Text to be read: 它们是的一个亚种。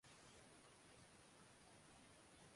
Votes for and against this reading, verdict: 2, 2, rejected